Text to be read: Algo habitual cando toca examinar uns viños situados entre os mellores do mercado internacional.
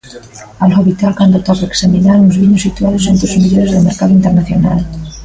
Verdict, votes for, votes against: accepted, 2, 0